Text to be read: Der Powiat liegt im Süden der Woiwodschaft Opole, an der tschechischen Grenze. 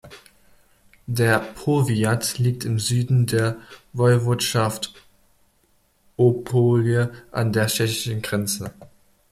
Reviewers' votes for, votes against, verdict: 2, 0, accepted